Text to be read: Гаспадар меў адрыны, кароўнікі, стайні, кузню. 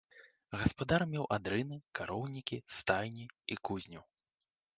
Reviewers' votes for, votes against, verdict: 0, 2, rejected